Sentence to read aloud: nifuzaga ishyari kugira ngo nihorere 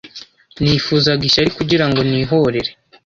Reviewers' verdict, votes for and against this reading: accepted, 2, 0